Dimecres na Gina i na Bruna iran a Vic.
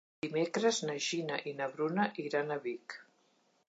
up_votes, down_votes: 2, 0